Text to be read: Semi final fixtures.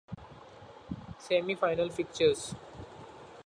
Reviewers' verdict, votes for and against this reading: accepted, 2, 0